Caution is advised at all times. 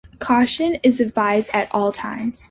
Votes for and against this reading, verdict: 2, 0, accepted